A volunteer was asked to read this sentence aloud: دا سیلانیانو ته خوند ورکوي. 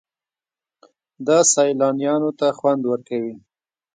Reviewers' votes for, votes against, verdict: 1, 2, rejected